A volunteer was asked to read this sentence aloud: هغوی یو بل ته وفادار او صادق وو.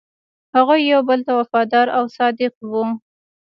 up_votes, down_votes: 2, 1